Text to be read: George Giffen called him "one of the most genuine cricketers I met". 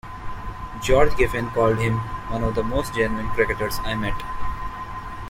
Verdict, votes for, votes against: accepted, 2, 0